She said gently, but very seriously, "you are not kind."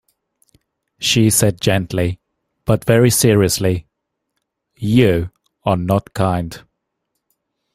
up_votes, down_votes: 2, 0